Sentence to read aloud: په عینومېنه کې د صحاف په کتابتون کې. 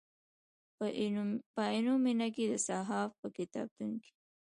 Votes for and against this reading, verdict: 2, 1, accepted